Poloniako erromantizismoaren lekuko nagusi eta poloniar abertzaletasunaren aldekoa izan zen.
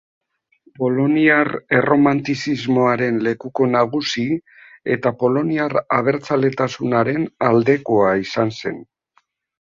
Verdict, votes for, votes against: rejected, 0, 2